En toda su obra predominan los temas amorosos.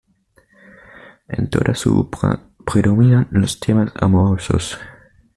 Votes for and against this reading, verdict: 2, 0, accepted